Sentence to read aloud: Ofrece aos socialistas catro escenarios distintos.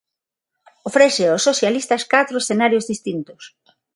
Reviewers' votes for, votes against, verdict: 6, 3, accepted